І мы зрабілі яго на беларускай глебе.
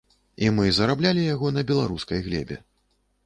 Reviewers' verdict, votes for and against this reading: rejected, 0, 2